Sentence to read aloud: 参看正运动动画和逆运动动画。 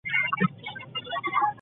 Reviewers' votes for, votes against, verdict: 1, 2, rejected